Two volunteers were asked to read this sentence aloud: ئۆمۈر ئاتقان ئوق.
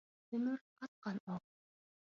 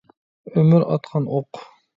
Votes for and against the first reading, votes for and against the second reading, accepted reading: 0, 2, 2, 0, second